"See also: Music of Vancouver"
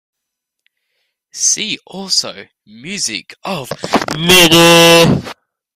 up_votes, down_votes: 0, 2